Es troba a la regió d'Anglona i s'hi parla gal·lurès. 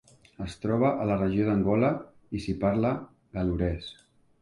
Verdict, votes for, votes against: rejected, 0, 2